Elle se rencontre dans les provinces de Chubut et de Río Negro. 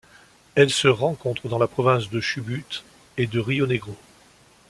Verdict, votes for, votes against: rejected, 1, 2